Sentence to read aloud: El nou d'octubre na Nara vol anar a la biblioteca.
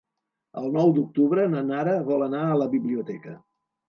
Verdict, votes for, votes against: accepted, 3, 0